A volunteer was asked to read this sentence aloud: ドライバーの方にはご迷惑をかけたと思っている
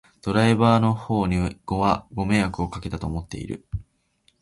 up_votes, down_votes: 0, 2